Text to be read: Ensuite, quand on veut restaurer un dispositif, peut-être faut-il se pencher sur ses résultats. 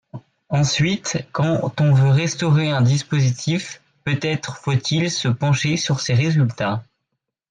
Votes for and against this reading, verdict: 1, 2, rejected